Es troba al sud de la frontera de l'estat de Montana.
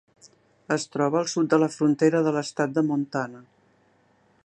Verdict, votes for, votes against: accepted, 3, 0